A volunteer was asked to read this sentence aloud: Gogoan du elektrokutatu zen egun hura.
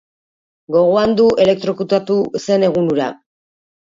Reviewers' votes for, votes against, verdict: 2, 1, accepted